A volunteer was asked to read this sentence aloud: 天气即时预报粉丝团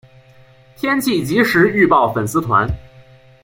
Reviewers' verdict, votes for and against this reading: accepted, 2, 0